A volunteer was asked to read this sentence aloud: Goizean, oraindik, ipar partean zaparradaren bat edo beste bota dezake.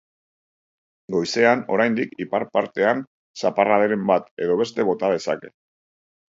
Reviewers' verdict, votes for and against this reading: accepted, 2, 0